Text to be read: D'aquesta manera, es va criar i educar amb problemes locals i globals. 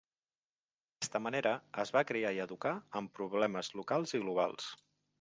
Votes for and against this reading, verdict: 1, 2, rejected